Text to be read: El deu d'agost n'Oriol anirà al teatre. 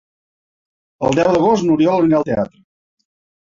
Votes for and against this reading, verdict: 0, 2, rejected